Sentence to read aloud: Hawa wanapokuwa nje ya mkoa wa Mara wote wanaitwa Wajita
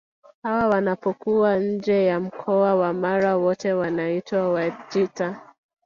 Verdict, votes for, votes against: accepted, 3, 2